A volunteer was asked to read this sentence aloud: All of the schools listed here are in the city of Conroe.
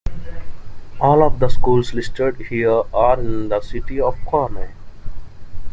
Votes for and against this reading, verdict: 2, 0, accepted